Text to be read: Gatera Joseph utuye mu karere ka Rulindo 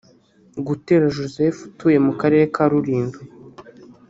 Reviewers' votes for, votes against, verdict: 2, 3, rejected